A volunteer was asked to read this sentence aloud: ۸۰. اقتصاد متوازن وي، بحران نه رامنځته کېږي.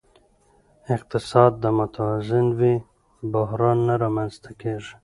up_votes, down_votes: 0, 2